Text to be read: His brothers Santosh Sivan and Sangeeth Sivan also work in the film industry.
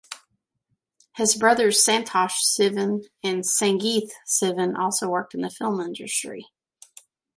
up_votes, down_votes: 2, 0